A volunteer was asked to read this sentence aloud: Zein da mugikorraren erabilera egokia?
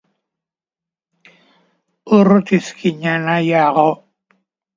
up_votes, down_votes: 1, 2